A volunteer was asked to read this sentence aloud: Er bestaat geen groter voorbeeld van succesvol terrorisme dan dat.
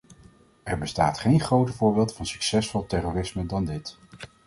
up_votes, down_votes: 0, 2